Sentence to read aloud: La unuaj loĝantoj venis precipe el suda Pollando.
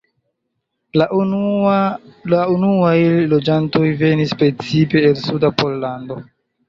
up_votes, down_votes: 0, 2